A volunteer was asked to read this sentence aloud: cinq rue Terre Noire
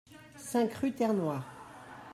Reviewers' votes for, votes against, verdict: 2, 1, accepted